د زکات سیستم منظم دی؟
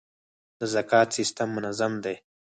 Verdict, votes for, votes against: accepted, 4, 0